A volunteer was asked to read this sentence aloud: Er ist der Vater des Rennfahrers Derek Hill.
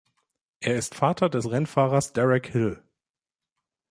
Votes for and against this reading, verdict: 0, 2, rejected